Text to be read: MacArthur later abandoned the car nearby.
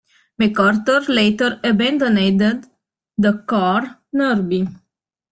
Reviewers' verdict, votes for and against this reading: rejected, 0, 2